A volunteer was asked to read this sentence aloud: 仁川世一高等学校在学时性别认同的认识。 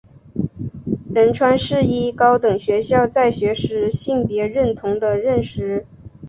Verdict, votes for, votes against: accepted, 3, 0